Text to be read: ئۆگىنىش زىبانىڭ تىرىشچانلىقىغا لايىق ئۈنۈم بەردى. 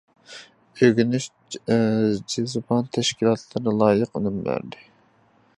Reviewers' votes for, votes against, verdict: 0, 2, rejected